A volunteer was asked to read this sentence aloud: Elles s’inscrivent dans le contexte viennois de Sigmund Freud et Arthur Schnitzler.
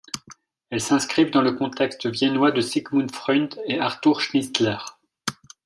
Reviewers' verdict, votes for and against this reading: accepted, 2, 0